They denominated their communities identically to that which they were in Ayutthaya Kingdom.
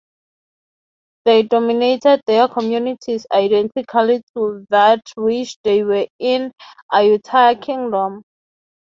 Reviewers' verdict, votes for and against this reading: rejected, 0, 3